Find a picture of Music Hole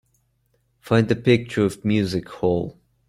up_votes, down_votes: 2, 1